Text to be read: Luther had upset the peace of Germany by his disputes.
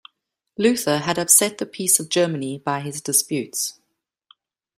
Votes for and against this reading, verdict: 2, 0, accepted